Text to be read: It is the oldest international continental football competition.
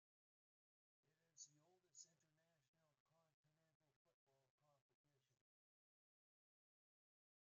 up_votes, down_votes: 0, 2